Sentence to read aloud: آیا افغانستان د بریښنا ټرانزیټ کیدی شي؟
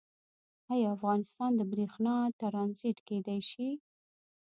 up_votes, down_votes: 1, 2